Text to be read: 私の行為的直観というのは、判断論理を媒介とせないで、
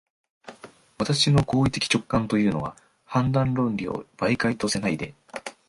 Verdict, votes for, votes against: accepted, 2, 0